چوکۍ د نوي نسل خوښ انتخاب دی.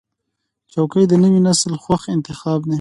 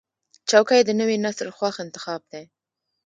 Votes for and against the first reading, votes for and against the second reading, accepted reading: 2, 1, 0, 2, first